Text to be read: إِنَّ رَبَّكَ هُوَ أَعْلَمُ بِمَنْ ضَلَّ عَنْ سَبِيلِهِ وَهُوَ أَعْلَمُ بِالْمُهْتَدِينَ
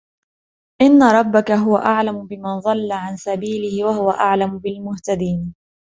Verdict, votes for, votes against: accepted, 2, 0